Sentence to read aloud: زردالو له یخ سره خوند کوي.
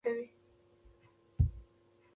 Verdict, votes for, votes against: rejected, 1, 2